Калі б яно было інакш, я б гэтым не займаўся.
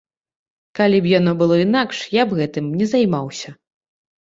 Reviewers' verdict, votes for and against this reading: accepted, 2, 0